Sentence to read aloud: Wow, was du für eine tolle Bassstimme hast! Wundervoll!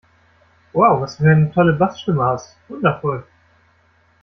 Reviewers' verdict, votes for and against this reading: rejected, 0, 2